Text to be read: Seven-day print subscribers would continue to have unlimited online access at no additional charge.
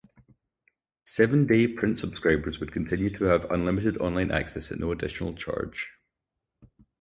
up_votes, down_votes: 2, 2